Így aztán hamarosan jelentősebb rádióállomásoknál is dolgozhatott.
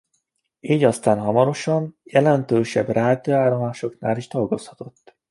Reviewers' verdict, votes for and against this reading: rejected, 1, 2